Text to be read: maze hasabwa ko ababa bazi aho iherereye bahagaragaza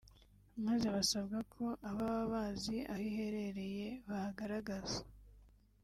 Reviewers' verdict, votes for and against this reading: rejected, 1, 2